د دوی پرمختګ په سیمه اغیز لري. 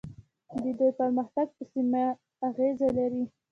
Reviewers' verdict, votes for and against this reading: accepted, 2, 0